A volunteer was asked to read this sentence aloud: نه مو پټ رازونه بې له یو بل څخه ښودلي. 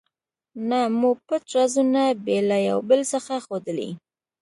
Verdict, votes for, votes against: accepted, 2, 0